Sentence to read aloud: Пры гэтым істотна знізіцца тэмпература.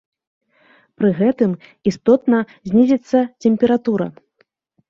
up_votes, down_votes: 0, 2